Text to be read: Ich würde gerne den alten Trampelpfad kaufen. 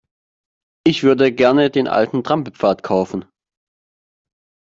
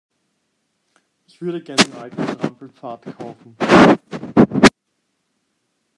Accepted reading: first